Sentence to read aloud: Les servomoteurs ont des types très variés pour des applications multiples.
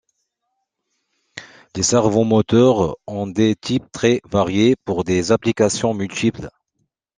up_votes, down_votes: 2, 1